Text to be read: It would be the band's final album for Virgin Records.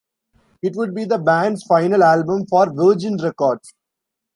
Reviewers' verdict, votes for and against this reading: rejected, 1, 2